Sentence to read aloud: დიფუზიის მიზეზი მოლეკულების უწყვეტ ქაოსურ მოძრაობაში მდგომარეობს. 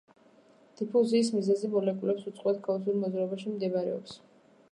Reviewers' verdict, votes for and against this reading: rejected, 0, 2